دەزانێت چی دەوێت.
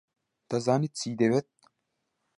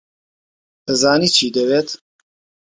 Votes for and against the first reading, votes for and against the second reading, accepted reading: 2, 0, 1, 2, first